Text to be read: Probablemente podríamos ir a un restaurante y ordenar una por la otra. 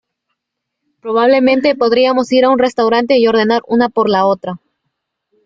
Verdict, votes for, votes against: rejected, 1, 2